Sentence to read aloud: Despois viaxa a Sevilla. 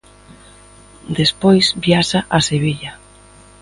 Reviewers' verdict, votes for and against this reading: accepted, 2, 0